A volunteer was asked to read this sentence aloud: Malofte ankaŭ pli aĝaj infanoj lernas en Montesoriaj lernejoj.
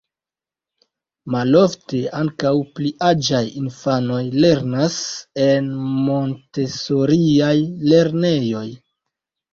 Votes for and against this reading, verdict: 1, 2, rejected